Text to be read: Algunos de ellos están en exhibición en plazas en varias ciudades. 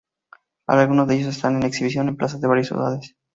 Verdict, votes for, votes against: rejected, 0, 4